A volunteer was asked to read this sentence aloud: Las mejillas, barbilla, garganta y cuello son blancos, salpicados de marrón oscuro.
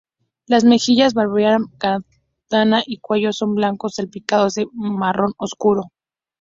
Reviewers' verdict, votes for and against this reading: rejected, 0, 2